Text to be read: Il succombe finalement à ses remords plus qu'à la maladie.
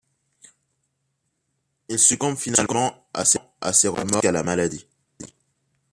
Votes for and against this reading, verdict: 0, 2, rejected